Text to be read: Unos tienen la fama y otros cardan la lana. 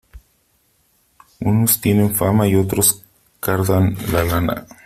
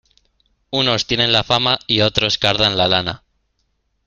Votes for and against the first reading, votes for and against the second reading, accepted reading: 1, 3, 2, 0, second